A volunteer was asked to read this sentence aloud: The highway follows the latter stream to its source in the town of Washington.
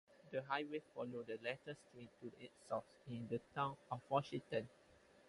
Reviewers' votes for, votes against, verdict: 0, 4, rejected